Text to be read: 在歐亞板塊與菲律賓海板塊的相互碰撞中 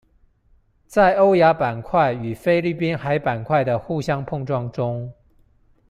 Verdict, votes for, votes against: rejected, 0, 2